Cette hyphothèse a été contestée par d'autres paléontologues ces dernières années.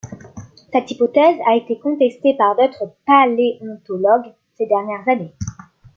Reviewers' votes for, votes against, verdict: 2, 0, accepted